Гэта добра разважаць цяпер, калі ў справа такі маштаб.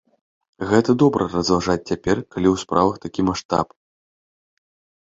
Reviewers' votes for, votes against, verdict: 1, 2, rejected